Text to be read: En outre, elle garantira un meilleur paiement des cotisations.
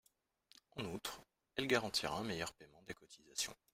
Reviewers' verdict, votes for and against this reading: rejected, 0, 2